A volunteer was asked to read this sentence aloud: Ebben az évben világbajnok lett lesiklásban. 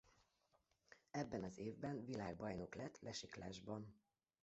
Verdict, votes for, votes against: rejected, 0, 2